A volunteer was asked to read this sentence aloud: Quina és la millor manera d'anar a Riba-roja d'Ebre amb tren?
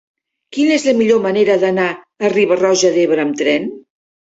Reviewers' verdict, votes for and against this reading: accepted, 3, 0